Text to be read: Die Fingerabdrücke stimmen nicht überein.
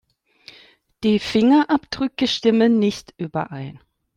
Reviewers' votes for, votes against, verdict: 2, 0, accepted